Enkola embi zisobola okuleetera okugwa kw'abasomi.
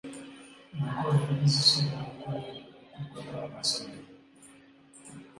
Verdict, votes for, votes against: rejected, 0, 2